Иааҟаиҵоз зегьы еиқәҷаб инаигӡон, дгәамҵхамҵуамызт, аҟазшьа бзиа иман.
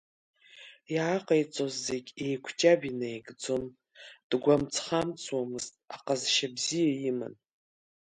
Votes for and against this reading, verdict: 2, 0, accepted